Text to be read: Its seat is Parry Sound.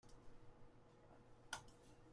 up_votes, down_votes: 0, 2